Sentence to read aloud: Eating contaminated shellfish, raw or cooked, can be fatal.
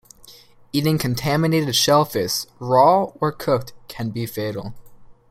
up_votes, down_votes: 2, 0